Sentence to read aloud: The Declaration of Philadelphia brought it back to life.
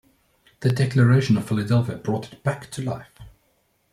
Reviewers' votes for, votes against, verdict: 2, 0, accepted